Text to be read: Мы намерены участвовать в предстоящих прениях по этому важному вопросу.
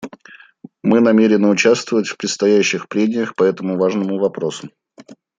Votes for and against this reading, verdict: 2, 0, accepted